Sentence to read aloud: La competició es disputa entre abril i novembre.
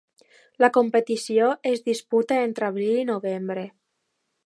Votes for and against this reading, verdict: 2, 0, accepted